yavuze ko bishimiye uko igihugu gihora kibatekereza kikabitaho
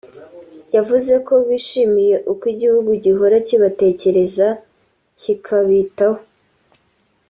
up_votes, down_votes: 4, 0